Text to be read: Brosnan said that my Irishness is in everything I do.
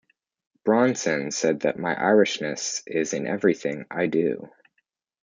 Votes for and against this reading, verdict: 0, 2, rejected